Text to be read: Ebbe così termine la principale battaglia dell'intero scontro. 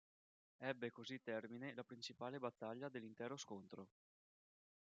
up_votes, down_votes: 2, 0